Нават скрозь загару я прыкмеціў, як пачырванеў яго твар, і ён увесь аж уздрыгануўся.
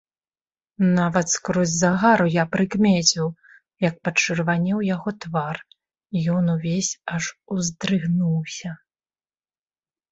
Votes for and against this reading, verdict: 0, 2, rejected